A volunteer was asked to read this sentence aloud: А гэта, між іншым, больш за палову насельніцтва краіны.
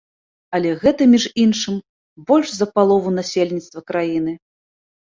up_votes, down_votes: 1, 2